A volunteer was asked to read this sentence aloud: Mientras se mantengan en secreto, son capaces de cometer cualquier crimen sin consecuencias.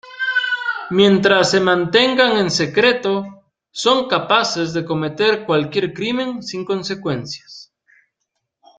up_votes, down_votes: 2, 0